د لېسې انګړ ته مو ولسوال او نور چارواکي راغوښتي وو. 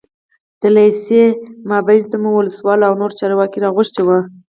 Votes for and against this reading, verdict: 0, 4, rejected